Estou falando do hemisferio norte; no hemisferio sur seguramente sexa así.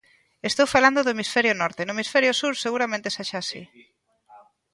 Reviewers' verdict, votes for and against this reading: rejected, 1, 2